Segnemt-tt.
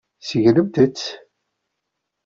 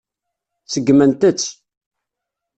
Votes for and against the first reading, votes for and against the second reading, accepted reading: 2, 0, 1, 2, first